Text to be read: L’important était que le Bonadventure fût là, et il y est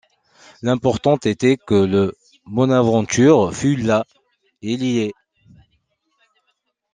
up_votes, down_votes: 1, 2